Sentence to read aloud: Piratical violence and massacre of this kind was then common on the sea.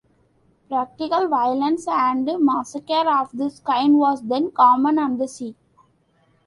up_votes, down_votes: 2, 1